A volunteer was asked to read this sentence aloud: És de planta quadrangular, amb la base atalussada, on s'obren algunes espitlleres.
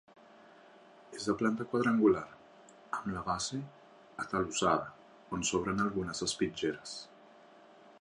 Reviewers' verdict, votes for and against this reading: accepted, 2, 1